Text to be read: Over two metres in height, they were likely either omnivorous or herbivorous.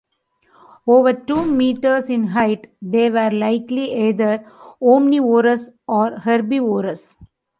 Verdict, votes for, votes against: rejected, 0, 2